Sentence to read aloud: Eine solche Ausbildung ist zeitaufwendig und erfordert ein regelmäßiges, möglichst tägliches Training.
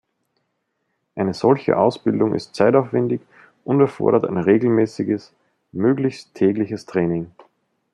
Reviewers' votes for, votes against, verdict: 2, 0, accepted